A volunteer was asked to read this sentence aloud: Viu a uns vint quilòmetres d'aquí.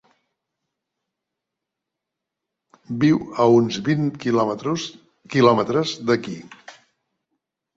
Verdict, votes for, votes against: rejected, 0, 3